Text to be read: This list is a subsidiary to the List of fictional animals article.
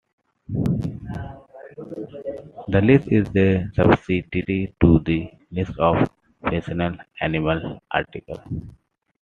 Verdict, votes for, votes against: rejected, 0, 2